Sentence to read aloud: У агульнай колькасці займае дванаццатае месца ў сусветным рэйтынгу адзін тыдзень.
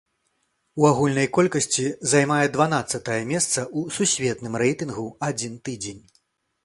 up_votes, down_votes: 2, 0